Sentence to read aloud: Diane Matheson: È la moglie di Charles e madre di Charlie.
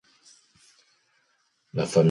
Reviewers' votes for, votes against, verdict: 0, 3, rejected